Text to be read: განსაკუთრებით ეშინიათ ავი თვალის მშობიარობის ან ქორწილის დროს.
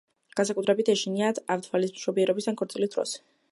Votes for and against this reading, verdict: 1, 2, rejected